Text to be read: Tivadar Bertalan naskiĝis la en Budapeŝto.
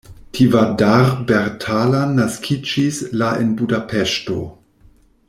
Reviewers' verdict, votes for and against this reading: rejected, 0, 2